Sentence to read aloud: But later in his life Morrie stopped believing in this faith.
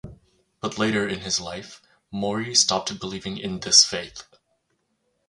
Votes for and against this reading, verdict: 0, 2, rejected